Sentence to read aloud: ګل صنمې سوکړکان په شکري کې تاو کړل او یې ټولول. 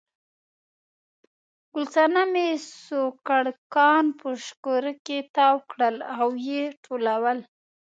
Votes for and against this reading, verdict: 2, 0, accepted